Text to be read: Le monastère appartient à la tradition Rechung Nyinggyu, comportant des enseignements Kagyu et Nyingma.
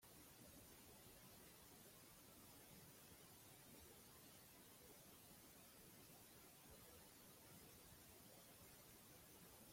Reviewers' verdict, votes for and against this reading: rejected, 1, 2